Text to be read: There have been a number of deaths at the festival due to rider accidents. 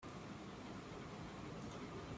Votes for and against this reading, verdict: 0, 2, rejected